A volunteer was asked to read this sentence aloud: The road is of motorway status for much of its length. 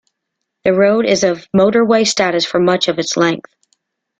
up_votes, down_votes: 2, 0